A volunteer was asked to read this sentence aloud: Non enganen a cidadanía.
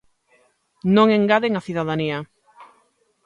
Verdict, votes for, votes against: rejected, 0, 2